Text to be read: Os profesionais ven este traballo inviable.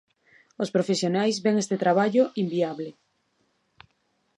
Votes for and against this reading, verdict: 2, 0, accepted